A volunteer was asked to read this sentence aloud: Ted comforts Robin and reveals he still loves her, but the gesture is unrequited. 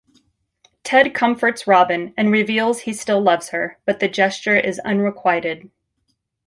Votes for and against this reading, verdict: 2, 0, accepted